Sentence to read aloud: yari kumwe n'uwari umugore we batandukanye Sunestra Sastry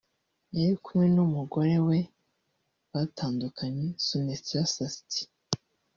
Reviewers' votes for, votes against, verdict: 1, 2, rejected